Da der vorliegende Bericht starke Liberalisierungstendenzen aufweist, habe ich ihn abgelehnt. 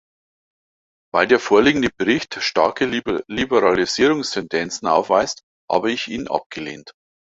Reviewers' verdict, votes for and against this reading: rejected, 0, 2